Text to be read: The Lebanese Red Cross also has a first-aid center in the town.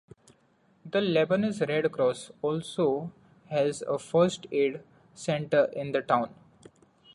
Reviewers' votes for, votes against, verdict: 2, 0, accepted